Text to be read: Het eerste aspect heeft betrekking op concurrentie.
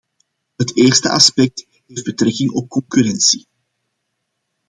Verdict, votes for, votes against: rejected, 0, 2